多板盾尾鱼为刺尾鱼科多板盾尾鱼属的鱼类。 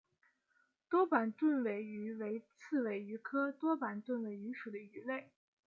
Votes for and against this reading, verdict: 2, 0, accepted